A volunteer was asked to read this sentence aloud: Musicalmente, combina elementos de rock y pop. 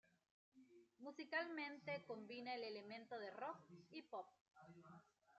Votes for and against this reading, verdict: 1, 2, rejected